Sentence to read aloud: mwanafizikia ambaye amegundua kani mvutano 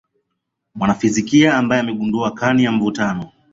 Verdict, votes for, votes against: accepted, 2, 0